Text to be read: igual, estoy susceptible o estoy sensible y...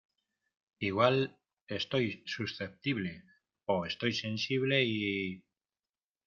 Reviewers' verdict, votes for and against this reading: rejected, 1, 2